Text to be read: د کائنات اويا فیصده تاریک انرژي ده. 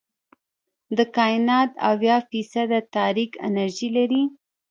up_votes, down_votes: 1, 2